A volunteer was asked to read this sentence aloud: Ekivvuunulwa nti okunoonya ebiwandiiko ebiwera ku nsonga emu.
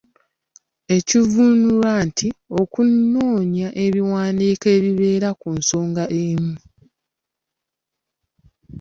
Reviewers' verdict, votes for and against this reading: rejected, 0, 2